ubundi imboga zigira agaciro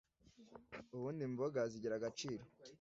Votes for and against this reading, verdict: 2, 0, accepted